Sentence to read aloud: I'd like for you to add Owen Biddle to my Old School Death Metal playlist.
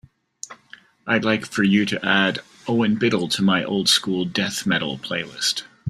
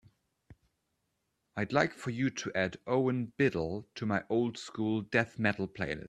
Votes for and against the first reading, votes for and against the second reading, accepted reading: 2, 0, 1, 2, first